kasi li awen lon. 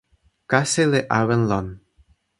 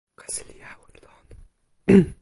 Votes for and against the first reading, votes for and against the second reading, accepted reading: 2, 0, 1, 2, first